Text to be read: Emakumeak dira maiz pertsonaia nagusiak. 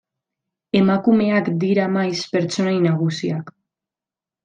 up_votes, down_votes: 0, 2